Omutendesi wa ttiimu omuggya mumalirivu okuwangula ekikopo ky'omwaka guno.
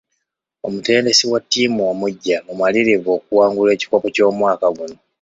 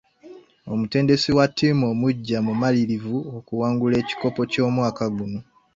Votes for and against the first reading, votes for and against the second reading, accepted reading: 1, 2, 2, 0, second